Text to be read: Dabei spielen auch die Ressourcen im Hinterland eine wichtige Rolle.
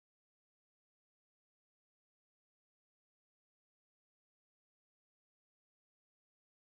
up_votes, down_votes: 0, 2